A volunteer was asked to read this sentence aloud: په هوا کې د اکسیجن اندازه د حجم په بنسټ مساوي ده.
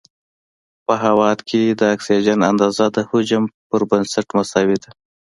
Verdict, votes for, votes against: accepted, 2, 1